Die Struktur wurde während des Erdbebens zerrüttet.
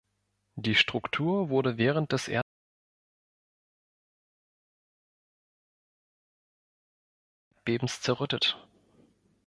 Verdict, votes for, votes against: rejected, 1, 2